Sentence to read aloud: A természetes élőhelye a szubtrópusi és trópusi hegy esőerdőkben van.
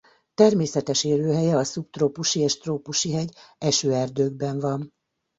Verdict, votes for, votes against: rejected, 1, 2